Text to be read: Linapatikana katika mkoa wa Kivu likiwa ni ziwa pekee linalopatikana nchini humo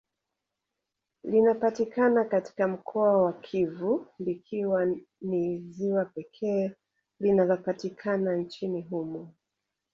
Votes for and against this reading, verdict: 0, 2, rejected